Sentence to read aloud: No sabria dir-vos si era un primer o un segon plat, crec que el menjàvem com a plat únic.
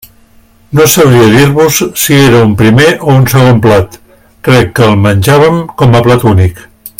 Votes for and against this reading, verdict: 3, 0, accepted